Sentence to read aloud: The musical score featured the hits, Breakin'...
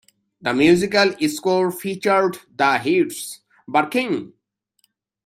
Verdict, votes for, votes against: rejected, 0, 2